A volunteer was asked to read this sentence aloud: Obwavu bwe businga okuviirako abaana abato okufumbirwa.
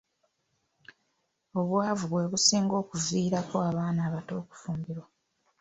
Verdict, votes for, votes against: rejected, 1, 2